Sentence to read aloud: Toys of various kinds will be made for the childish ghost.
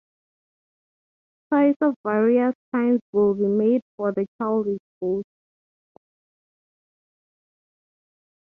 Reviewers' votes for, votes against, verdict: 3, 0, accepted